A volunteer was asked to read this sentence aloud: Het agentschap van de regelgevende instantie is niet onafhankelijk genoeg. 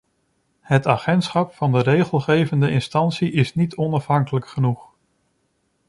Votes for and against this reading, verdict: 2, 0, accepted